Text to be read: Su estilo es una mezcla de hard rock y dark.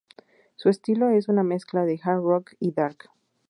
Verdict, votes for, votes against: accepted, 4, 0